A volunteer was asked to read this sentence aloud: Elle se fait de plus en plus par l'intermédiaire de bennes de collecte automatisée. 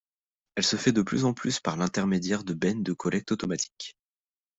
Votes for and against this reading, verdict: 1, 2, rejected